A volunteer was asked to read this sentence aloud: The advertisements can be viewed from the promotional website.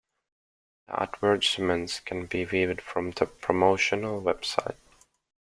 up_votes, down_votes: 1, 2